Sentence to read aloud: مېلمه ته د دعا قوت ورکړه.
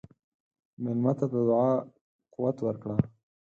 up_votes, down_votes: 4, 0